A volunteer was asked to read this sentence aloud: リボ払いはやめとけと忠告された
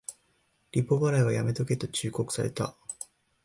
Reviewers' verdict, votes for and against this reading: accepted, 2, 0